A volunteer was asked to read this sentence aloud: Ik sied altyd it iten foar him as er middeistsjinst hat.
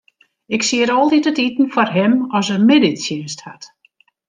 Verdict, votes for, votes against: rejected, 1, 2